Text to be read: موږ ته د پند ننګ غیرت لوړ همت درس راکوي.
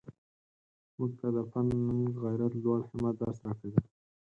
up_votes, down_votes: 2, 4